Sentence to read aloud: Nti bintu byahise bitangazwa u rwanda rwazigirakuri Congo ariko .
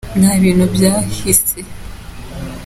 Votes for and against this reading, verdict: 0, 2, rejected